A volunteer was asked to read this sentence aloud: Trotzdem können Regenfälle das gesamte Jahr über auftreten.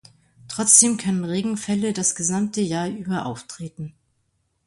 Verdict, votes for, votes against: accepted, 2, 0